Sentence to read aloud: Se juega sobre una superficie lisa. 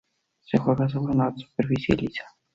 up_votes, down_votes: 2, 2